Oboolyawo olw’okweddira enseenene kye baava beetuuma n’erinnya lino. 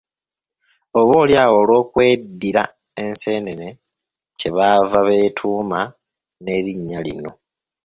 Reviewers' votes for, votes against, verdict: 2, 1, accepted